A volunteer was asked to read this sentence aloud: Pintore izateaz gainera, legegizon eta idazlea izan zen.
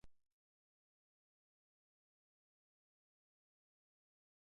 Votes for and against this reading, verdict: 1, 2, rejected